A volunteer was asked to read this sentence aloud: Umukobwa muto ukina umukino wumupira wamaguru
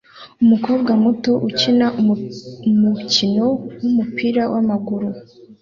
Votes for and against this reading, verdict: 1, 2, rejected